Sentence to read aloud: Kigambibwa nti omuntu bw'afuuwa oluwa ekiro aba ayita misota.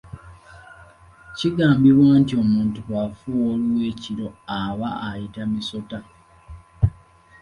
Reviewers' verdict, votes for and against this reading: accepted, 2, 0